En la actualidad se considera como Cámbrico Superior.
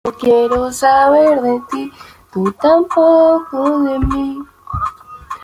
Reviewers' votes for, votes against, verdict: 0, 2, rejected